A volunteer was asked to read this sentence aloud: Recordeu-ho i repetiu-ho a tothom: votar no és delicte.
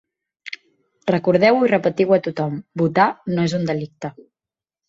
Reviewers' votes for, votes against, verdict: 0, 2, rejected